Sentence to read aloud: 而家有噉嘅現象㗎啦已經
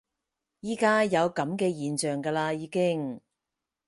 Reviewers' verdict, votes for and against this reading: accepted, 4, 0